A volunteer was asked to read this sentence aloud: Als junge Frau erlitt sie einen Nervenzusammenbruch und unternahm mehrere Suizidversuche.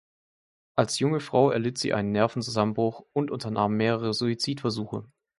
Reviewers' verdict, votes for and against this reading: accepted, 2, 0